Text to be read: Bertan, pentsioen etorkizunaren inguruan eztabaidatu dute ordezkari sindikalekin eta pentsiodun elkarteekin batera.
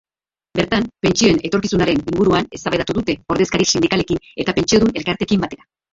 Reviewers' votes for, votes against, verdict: 0, 2, rejected